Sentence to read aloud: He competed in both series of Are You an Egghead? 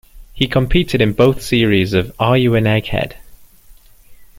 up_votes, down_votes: 2, 0